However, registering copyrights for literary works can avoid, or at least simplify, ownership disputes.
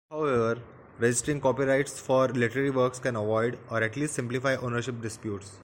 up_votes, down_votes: 1, 2